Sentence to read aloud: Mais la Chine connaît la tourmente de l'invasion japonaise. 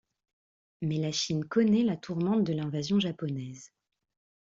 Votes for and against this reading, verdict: 2, 0, accepted